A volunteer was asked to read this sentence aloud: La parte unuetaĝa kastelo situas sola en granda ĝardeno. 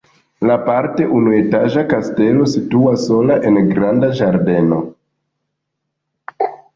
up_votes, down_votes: 2, 1